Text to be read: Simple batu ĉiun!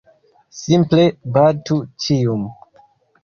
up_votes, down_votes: 0, 2